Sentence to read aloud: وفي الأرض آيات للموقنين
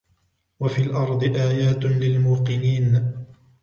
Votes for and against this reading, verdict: 3, 0, accepted